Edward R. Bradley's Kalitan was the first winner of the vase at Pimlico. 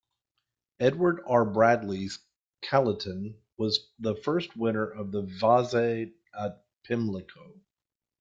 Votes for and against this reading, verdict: 0, 2, rejected